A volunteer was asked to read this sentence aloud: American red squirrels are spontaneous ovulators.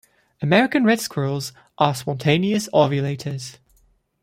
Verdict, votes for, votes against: accepted, 2, 0